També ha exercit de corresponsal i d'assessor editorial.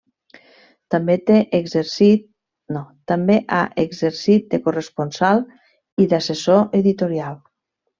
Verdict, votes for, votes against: rejected, 1, 2